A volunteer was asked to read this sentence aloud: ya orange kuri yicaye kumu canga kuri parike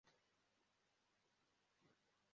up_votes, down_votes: 0, 2